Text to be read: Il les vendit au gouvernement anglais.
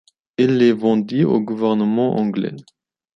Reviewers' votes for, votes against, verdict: 2, 1, accepted